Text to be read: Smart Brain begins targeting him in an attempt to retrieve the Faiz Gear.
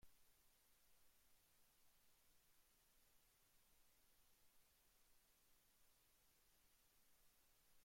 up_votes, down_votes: 0, 3